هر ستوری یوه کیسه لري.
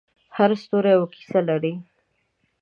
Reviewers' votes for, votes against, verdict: 2, 0, accepted